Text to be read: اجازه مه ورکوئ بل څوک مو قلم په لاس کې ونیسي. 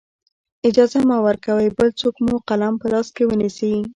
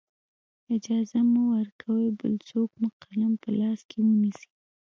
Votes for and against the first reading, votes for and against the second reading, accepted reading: 2, 0, 1, 2, first